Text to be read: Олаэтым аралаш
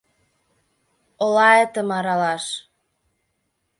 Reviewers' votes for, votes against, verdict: 2, 0, accepted